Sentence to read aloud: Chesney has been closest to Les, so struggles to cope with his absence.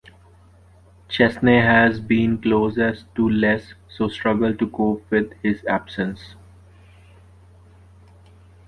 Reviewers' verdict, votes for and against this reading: rejected, 1, 2